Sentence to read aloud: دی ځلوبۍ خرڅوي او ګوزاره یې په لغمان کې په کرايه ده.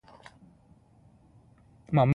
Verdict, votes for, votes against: rejected, 1, 2